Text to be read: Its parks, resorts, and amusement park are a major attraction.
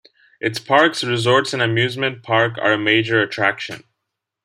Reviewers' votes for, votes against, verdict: 2, 0, accepted